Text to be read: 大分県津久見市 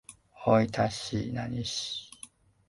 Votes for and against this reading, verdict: 1, 2, rejected